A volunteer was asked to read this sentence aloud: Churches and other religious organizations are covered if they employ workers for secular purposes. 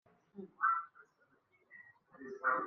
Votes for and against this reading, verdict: 1, 2, rejected